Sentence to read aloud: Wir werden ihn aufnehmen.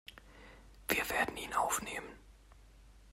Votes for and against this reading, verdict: 1, 2, rejected